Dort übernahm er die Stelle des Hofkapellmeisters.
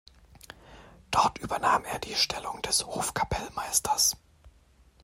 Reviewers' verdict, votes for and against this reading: rejected, 1, 2